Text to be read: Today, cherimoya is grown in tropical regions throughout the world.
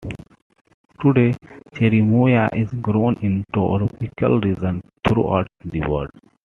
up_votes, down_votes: 1, 2